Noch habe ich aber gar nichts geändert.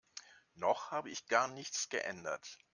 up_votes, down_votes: 0, 2